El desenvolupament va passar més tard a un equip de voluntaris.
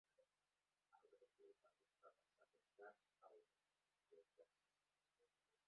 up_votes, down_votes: 0, 2